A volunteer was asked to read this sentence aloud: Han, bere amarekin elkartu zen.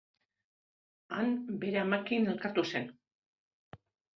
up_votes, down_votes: 0, 2